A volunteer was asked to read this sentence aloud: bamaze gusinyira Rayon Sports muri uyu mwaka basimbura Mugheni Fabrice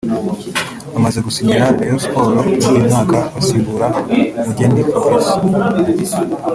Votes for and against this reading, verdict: 1, 2, rejected